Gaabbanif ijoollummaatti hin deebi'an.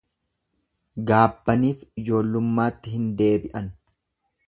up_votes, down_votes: 2, 0